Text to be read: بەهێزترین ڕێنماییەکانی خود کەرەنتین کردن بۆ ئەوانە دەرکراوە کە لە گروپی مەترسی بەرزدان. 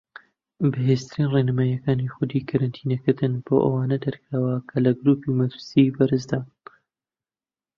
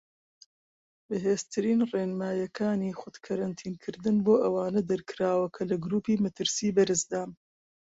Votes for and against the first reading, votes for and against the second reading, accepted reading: 0, 2, 2, 0, second